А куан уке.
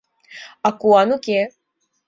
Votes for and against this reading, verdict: 2, 0, accepted